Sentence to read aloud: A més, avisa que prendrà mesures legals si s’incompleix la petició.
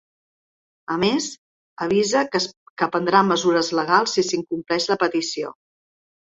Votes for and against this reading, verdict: 0, 2, rejected